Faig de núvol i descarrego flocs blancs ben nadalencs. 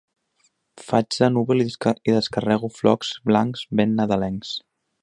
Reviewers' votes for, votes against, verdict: 0, 2, rejected